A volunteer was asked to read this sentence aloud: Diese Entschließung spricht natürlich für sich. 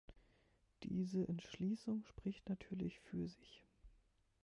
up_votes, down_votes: 1, 2